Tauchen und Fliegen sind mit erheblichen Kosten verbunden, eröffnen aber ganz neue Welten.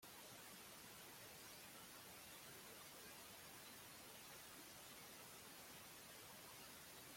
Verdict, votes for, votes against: rejected, 0, 2